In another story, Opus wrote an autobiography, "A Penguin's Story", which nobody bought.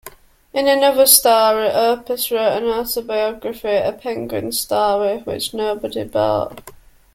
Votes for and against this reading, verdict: 0, 2, rejected